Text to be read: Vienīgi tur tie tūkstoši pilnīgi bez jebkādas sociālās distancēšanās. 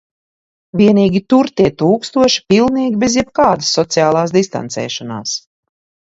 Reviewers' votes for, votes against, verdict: 2, 1, accepted